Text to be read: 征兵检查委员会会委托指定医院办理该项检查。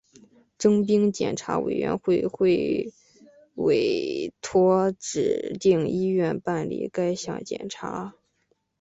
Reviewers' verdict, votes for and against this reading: accepted, 4, 1